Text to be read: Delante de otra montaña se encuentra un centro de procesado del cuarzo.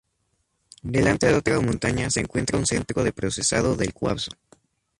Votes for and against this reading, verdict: 0, 2, rejected